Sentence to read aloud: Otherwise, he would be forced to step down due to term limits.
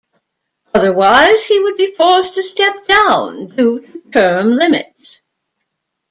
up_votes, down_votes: 1, 2